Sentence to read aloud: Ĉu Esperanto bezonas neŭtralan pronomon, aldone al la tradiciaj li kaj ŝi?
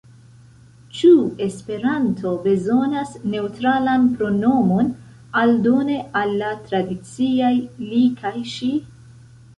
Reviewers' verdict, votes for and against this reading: accepted, 3, 0